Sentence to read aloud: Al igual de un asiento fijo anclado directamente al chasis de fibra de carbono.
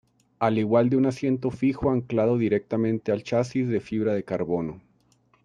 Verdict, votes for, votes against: accepted, 2, 0